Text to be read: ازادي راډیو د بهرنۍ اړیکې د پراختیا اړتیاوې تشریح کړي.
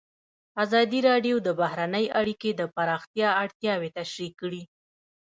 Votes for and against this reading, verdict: 0, 2, rejected